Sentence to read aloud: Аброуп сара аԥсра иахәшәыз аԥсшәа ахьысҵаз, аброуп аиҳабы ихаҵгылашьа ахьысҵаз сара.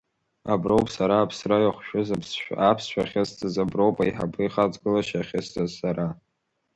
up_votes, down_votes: 0, 2